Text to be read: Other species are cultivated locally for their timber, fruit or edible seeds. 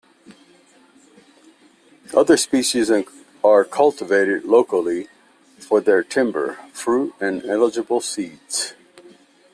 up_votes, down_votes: 0, 2